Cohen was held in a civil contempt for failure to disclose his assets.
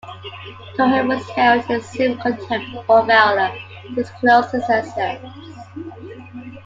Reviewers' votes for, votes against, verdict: 0, 2, rejected